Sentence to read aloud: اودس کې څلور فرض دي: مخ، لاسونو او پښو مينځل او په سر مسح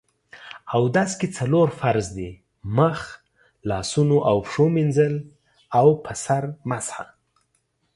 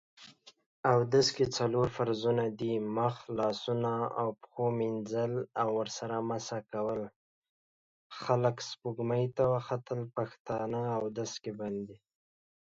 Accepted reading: first